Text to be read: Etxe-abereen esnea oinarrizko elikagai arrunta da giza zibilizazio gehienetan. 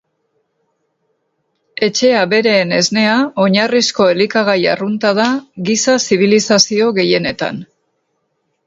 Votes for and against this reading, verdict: 0, 2, rejected